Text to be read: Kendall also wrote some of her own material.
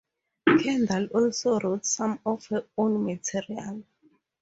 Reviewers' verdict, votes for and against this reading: rejected, 2, 2